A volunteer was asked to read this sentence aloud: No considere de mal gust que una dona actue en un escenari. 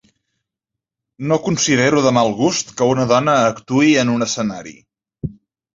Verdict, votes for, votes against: rejected, 1, 2